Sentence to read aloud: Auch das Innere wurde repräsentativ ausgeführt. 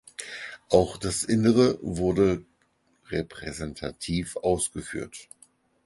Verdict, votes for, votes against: accepted, 4, 0